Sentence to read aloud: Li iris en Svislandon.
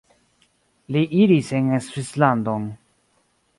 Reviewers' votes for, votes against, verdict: 2, 0, accepted